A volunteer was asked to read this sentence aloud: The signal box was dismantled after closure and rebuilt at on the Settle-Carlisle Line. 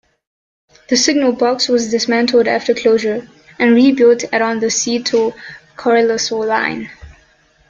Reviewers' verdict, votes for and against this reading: rejected, 0, 2